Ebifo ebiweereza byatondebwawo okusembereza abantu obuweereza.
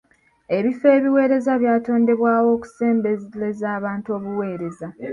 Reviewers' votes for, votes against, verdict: 2, 0, accepted